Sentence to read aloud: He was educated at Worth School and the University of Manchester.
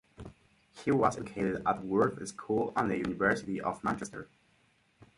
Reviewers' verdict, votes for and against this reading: rejected, 2, 4